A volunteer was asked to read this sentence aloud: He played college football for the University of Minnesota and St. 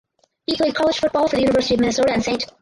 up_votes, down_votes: 0, 2